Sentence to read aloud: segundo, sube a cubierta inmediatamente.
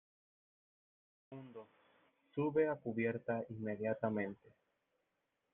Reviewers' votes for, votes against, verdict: 1, 2, rejected